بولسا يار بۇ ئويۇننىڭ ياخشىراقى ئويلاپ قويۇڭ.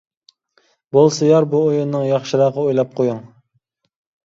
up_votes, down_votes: 1, 2